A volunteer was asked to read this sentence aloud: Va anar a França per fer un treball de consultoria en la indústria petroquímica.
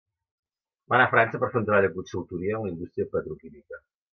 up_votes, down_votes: 0, 2